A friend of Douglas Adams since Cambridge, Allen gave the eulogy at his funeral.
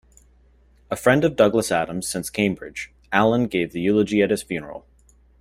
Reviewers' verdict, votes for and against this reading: accepted, 2, 0